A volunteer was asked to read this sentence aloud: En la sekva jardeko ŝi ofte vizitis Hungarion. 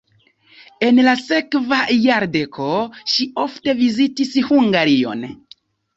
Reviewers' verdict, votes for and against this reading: accepted, 2, 0